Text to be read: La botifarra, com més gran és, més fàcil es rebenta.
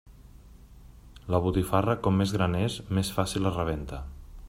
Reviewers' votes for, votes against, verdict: 3, 0, accepted